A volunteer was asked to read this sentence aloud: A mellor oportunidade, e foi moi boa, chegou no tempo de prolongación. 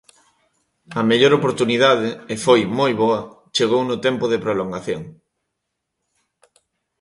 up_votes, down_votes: 3, 0